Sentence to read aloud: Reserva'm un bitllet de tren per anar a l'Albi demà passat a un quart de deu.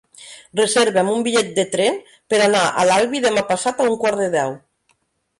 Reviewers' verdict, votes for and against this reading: rejected, 1, 2